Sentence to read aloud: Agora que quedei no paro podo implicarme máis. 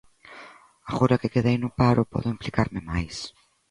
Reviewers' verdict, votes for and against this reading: accepted, 2, 1